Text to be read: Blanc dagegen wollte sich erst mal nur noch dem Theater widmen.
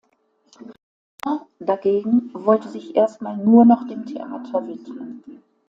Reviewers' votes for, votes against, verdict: 0, 2, rejected